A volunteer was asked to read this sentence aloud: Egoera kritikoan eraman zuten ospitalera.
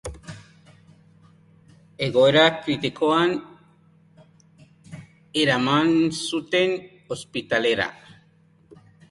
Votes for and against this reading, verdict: 2, 0, accepted